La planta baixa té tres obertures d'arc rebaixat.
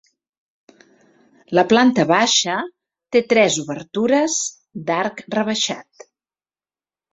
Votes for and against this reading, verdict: 3, 0, accepted